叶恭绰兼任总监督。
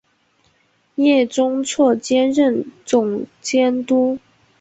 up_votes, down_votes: 0, 2